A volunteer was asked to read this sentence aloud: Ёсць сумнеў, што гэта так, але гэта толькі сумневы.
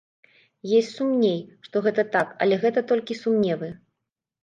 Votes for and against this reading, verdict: 0, 2, rejected